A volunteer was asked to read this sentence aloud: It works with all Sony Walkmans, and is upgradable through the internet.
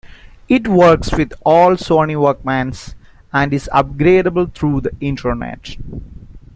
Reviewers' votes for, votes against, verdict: 2, 0, accepted